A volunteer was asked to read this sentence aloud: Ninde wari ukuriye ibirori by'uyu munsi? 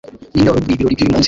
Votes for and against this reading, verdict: 0, 2, rejected